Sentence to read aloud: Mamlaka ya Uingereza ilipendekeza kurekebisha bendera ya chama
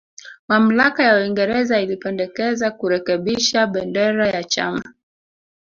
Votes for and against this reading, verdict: 1, 2, rejected